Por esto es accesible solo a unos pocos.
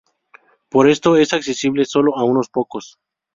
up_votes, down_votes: 2, 0